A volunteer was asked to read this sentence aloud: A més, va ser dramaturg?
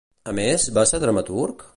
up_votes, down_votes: 2, 0